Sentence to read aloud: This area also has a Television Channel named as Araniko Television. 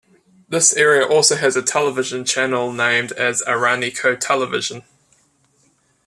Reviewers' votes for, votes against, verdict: 2, 0, accepted